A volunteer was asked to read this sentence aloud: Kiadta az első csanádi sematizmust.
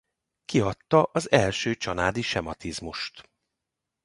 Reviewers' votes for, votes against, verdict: 2, 0, accepted